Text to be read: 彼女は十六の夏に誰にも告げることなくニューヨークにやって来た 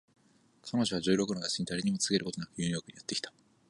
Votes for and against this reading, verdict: 4, 0, accepted